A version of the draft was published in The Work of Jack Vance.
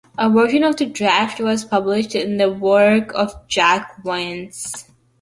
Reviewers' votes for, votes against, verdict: 1, 2, rejected